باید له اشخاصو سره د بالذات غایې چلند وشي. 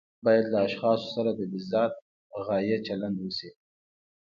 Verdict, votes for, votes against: accepted, 2, 0